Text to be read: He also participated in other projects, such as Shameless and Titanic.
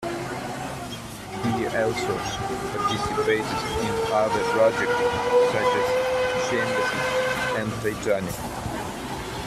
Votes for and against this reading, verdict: 1, 2, rejected